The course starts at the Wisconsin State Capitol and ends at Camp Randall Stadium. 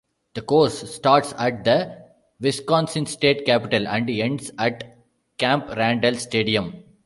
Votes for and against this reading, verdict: 0, 2, rejected